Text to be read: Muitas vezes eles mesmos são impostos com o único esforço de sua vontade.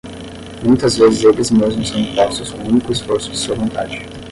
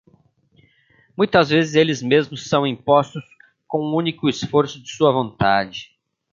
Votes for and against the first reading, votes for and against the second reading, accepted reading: 5, 5, 2, 1, second